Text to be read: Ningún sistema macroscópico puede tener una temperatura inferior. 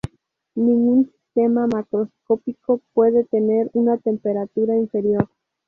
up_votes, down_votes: 2, 0